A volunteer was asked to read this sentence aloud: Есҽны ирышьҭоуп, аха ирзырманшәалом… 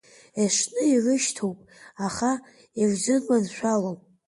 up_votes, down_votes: 2, 0